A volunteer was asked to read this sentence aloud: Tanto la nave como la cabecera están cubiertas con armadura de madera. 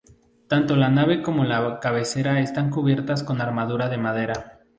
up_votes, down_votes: 2, 0